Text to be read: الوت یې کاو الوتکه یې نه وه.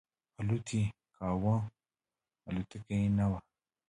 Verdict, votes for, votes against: rejected, 0, 2